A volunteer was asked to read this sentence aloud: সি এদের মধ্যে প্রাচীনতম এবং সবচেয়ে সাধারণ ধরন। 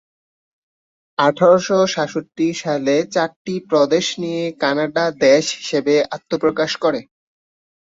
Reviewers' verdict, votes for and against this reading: rejected, 0, 2